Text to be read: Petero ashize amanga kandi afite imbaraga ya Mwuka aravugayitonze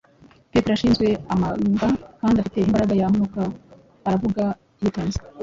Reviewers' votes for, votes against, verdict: 0, 2, rejected